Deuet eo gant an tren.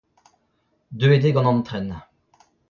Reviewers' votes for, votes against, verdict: 0, 2, rejected